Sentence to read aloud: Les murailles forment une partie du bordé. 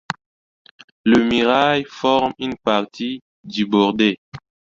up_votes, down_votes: 1, 2